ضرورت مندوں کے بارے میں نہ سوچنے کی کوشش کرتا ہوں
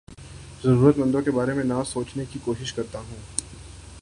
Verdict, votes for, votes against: accepted, 3, 0